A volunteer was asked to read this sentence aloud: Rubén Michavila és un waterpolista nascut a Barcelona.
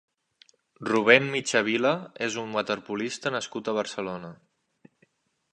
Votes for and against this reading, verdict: 3, 0, accepted